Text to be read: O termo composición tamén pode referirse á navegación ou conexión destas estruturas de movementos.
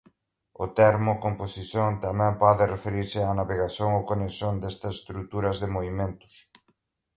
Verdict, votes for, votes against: accepted, 2, 1